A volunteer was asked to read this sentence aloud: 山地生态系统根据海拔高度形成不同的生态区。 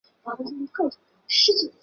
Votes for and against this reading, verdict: 0, 2, rejected